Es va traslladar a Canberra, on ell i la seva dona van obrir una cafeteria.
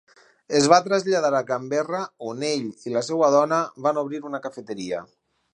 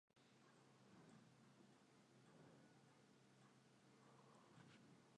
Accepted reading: first